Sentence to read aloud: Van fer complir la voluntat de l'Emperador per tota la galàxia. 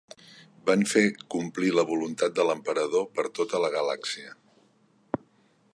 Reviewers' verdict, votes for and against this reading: accepted, 3, 0